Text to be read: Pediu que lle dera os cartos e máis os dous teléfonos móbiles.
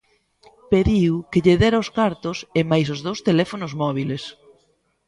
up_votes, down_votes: 2, 0